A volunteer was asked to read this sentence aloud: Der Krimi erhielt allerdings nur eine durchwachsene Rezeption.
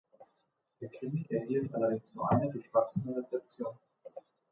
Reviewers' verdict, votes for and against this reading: rejected, 1, 2